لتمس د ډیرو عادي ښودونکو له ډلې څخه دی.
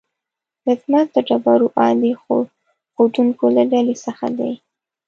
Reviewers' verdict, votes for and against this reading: rejected, 0, 2